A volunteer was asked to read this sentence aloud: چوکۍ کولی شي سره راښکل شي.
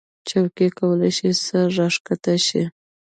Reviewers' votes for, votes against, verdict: 0, 2, rejected